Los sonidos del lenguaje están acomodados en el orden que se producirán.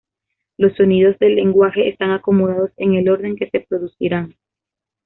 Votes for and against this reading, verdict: 2, 0, accepted